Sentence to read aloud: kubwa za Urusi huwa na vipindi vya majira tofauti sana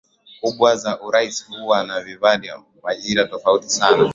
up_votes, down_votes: 0, 2